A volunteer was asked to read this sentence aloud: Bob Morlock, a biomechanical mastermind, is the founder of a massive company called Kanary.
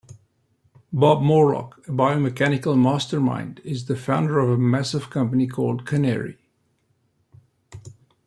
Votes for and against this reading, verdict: 2, 0, accepted